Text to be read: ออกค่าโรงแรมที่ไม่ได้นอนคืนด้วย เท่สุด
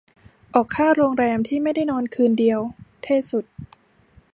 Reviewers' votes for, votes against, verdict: 1, 2, rejected